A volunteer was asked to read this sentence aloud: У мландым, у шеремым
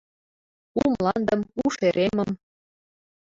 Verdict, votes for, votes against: rejected, 0, 2